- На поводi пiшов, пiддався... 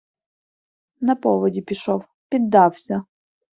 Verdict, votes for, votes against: accepted, 2, 0